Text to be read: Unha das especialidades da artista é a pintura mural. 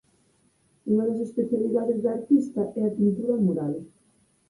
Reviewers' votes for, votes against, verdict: 4, 0, accepted